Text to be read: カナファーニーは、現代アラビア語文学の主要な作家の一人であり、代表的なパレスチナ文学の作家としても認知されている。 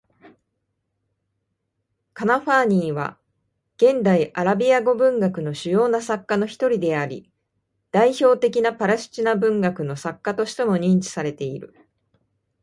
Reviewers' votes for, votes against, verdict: 2, 1, accepted